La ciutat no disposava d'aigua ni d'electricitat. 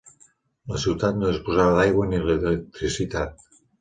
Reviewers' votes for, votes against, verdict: 0, 2, rejected